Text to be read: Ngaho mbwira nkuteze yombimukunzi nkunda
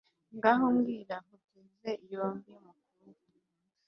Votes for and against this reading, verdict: 1, 2, rejected